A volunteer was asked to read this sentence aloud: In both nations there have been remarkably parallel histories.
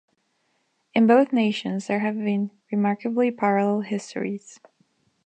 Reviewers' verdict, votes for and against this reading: accepted, 2, 0